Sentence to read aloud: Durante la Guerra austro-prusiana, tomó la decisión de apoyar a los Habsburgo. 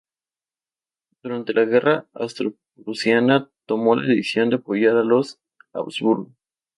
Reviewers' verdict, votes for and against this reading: rejected, 0, 2